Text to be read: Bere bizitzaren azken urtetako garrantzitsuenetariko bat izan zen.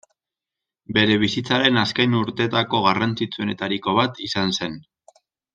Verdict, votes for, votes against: rejected, 0, 2